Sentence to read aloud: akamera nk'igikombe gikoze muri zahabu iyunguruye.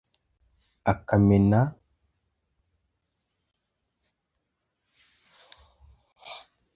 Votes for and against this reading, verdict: 0, 2, rejected